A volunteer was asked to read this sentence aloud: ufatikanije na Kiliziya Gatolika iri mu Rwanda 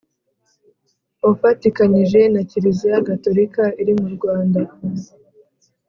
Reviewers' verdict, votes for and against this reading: accepted, 2, 0